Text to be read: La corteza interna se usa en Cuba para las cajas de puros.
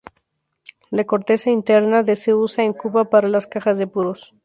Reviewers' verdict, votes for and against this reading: rejected, 0, 2